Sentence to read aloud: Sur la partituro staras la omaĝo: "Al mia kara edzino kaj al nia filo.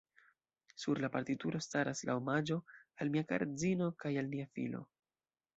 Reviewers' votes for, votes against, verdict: 1, 2, rejected